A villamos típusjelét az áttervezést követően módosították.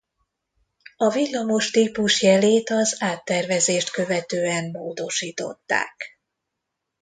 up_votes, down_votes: 2, 0